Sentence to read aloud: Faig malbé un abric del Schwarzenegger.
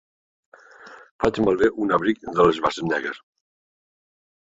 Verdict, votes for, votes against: rejected, 1, 2